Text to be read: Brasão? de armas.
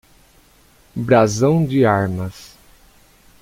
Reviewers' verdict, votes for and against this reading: rejected, 0, 2